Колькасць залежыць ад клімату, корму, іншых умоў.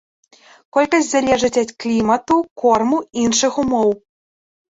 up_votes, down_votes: 2, 0